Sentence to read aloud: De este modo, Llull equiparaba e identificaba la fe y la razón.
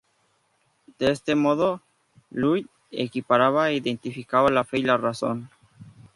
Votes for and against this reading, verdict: 4, 0, accepted